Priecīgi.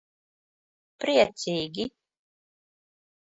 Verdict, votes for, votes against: accepted, 2, 0